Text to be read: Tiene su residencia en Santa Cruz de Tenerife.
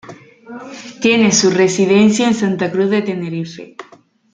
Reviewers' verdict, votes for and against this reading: accepted, 2, 1